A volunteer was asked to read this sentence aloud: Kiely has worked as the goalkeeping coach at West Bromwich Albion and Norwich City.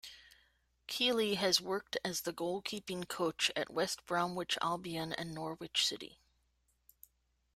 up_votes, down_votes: 2, 0